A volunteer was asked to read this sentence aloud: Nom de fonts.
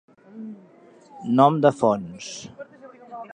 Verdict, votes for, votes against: accepted, 2, 0